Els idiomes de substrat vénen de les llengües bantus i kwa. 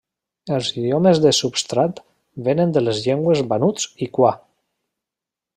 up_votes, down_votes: 0, 2